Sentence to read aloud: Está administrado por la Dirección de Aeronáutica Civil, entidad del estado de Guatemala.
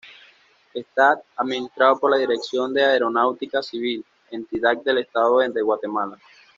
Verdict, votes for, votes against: accepted, 2, 0